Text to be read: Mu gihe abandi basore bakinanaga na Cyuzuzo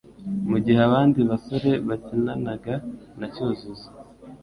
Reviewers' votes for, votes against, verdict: 2, 0, accepted